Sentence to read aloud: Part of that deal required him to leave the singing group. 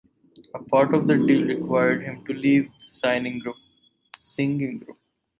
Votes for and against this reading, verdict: 0, 6, rejected